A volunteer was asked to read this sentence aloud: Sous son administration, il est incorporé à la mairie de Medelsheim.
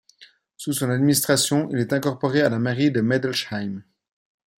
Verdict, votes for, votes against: accepted, 2, 0